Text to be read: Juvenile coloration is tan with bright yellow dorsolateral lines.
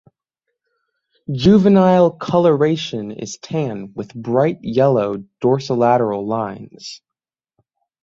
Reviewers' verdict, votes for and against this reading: accepted, 3, 0